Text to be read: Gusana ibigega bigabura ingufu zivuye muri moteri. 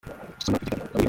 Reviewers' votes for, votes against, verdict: 0, 2, rejected